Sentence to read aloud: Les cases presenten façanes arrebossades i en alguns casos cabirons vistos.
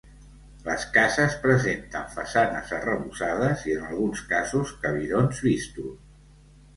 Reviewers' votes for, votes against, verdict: 1, 2, rejected